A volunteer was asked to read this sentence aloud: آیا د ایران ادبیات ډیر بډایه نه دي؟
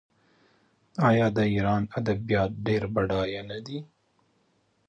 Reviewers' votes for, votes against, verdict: 1, 2, rejected